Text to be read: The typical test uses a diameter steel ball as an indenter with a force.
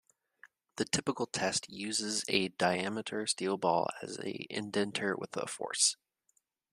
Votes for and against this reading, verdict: 1, 2, rejected